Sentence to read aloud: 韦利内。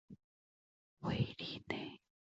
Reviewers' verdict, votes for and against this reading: accepted, 2, 0